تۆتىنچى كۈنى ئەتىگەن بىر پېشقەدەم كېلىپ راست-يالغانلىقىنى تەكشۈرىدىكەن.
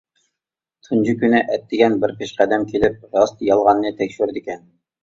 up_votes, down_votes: 0, 2